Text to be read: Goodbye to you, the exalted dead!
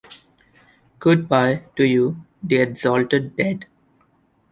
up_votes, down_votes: 1, 2